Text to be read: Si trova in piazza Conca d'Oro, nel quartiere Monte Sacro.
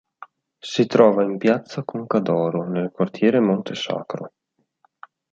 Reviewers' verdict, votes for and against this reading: accepted, 2, 0